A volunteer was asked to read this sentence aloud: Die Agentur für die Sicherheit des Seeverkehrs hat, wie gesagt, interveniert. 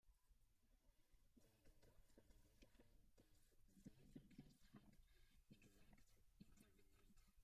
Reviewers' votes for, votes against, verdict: 0, 2, rejected